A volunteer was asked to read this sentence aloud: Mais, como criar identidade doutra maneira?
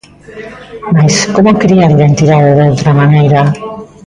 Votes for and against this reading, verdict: 1, 2, rejected